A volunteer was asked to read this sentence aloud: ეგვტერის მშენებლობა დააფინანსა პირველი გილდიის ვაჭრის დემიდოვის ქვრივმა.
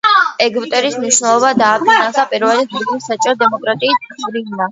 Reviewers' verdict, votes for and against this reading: rejected, 0, 2